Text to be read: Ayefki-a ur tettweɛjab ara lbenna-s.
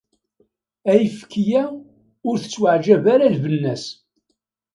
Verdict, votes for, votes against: accepted, 2, 0